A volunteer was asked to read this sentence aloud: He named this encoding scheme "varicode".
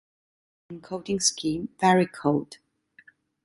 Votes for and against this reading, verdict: 0, 2, rejected